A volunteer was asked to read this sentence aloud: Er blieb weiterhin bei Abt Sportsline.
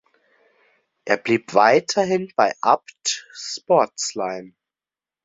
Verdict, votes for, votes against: accepted, 2, 0